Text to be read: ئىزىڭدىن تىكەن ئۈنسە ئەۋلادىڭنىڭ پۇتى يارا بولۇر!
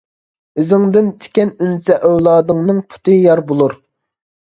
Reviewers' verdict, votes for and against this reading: rejected, 0, 2